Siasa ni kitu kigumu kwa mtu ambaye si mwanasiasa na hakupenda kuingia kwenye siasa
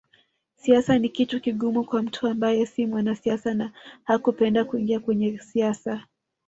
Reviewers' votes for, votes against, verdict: 2, 0, accepted